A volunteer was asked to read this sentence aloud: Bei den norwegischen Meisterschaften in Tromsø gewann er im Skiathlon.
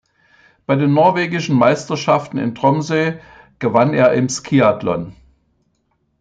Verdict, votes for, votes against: accepted, 2, 1